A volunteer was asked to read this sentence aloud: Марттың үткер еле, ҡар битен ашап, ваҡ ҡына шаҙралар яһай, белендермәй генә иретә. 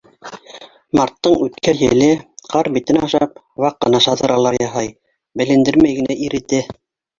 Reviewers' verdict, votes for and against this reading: rejected, 1, 2